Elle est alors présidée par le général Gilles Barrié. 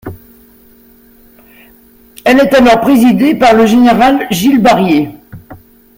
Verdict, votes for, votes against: accepted, 2, 0